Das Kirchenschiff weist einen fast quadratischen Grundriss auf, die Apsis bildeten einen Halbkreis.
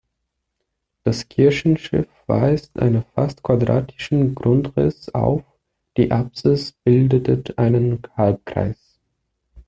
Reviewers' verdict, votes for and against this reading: rejected, 0, 2